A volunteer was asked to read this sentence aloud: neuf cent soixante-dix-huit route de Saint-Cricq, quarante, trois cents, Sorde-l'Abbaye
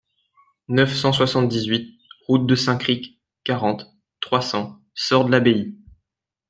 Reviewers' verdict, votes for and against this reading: accepted, 2, 0